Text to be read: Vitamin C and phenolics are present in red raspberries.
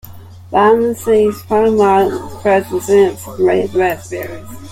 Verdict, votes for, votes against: rejected, 0, 2